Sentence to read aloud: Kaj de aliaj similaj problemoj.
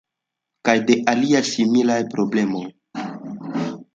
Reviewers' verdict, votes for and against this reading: accepted, 2, 1